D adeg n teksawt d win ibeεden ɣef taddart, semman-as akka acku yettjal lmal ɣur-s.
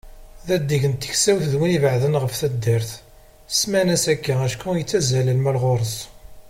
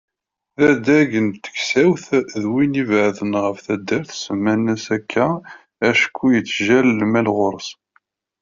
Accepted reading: first